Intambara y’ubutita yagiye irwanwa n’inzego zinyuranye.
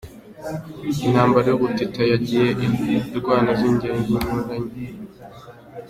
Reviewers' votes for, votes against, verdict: 0, 2, rejected